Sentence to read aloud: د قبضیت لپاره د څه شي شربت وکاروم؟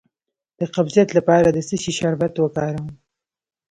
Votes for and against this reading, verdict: 2, 0, accepted